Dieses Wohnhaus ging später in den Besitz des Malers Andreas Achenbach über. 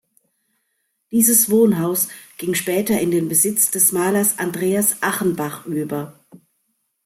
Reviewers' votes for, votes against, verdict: 2, 0, accepted